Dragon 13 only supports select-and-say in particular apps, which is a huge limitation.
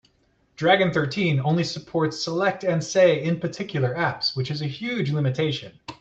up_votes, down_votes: 0, 2